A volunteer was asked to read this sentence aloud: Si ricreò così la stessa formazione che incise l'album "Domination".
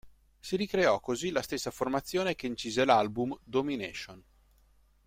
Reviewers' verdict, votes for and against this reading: accepted, 2, 0